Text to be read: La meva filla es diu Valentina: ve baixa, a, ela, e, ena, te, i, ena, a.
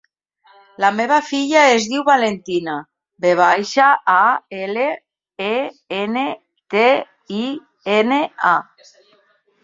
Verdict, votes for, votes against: rejected, 1, 2